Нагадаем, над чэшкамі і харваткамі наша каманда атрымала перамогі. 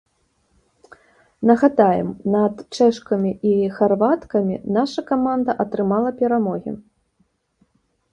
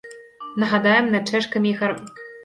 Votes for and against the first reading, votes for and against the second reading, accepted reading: 2, 0, 1, 2, first